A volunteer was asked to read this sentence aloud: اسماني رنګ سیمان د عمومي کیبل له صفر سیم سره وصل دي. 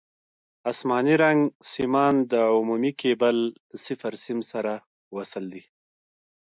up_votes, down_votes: 2, 0